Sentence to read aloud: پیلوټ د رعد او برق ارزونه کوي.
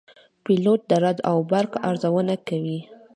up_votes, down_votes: 2, 1